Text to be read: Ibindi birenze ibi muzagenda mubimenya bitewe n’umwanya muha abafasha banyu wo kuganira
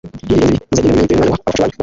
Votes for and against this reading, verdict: 1, 2, rejected